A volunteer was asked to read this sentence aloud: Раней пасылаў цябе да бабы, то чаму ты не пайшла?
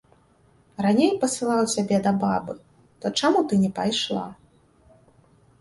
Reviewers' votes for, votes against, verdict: 2, 0, accepted